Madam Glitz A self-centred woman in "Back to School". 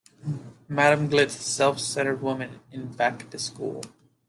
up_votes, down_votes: 2, 1